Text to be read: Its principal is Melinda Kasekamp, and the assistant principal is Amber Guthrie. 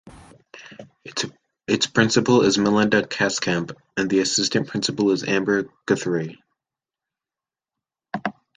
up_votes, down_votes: 2, 0